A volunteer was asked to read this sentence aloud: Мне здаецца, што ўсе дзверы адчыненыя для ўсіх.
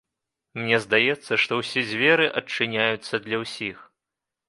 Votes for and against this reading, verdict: 0, 2, rejected